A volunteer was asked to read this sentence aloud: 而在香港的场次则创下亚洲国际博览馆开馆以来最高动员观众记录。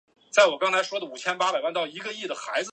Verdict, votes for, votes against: rejected, 1, 2